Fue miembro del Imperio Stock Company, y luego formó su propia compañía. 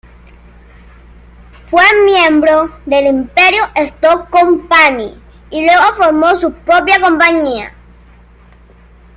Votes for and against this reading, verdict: 2, 0, accepted